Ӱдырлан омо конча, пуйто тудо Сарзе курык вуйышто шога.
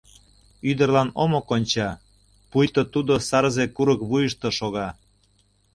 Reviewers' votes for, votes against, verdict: 2, 0, accepted